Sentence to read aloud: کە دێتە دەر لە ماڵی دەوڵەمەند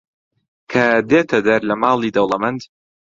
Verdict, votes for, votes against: accepted, 2, 1